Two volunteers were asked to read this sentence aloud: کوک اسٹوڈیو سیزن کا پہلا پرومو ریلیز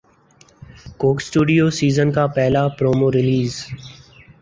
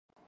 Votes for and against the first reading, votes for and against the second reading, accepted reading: 4, 0, 4, 8, first